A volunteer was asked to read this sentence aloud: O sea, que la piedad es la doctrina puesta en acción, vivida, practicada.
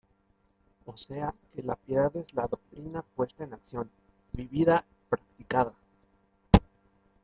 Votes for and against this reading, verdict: 2, 0, accepted